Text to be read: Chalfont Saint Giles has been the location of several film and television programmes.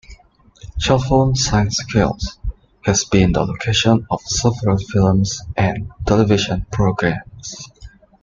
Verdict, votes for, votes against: accepted, 2, 1